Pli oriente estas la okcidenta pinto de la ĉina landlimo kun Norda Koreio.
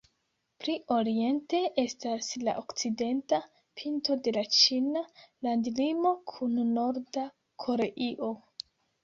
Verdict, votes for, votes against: accepted, 2, 1